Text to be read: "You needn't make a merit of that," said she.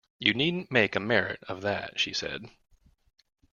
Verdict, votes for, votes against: rejected, 1, 2